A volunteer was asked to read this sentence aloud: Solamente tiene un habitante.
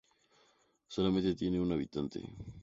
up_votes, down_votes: 2, 0